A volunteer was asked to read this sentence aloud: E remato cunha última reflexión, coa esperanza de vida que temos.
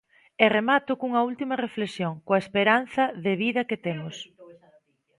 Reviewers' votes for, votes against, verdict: 2, 0, accepted